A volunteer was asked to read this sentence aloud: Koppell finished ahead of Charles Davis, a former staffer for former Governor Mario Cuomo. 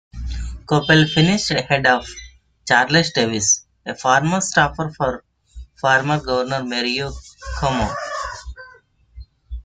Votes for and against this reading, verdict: 1, 2, rejected